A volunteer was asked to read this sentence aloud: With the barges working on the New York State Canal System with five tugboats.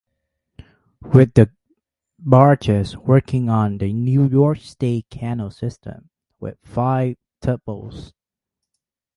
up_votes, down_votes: 4, 0